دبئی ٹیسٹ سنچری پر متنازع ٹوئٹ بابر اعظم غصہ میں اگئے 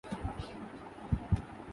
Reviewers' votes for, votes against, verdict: 0, 2, rejected